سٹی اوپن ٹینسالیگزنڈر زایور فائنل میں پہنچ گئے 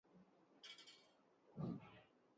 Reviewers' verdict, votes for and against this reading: rejected, 0, 6